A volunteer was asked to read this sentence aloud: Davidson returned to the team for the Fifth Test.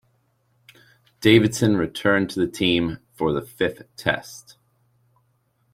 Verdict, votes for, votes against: accepted, 2, 0